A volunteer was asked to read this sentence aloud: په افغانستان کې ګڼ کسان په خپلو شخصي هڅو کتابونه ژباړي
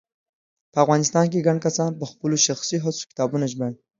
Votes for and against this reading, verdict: 2, 0, accepted